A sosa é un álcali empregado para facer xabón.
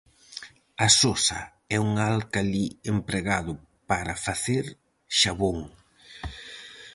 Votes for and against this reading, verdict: 4, 0, accepted